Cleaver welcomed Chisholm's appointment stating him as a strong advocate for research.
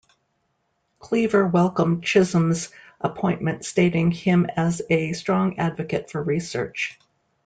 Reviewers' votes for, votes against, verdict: 2, 0, accepted